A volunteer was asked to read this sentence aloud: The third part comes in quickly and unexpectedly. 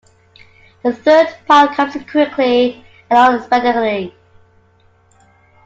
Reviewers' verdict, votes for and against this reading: accepted, 2, 1